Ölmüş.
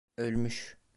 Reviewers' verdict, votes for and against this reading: accepted, 2, 0